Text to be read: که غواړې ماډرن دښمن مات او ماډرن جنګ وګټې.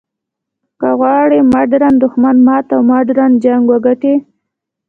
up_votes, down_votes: 2, 0